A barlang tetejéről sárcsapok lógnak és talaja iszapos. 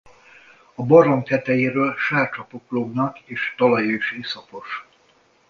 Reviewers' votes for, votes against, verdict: 0, 2, rejected